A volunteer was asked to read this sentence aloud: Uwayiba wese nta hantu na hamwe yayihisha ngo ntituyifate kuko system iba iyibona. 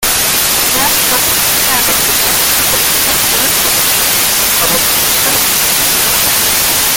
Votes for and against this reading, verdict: 0, 2, rejected